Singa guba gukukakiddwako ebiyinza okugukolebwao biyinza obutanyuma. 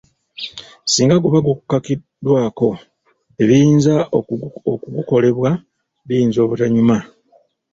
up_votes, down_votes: 1, 3